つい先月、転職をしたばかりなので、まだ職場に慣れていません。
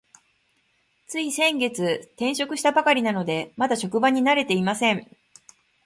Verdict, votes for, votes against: accepted, 2, 0